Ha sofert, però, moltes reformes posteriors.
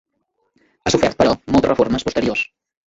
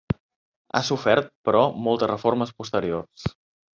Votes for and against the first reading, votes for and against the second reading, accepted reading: 0, 2, 3, 0, second